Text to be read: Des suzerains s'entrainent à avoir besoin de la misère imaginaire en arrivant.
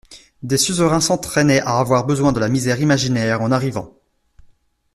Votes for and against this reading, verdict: 1, 2, rejected